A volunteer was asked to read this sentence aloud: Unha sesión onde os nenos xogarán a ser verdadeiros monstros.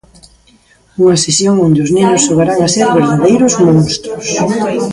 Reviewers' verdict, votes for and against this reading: accepted, 2, 1